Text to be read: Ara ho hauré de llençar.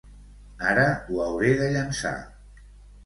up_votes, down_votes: 2, 0